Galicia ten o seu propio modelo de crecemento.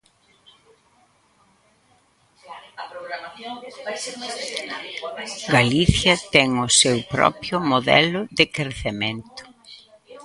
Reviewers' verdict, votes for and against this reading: rejected, 0, 2